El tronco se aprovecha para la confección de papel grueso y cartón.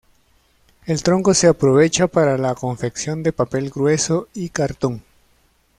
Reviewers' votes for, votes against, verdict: 2, 0, accepted